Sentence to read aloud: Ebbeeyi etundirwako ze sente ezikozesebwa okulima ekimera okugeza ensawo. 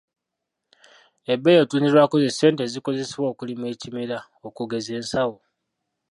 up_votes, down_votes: 0, 2